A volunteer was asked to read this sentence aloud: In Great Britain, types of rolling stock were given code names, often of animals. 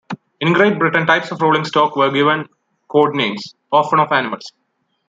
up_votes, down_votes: 2, 0